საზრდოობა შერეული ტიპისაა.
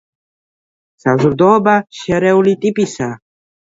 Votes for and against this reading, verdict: 1, 2, rejected